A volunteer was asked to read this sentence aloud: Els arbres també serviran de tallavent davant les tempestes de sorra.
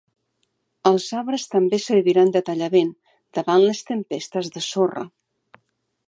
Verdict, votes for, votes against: accepted, 3, 0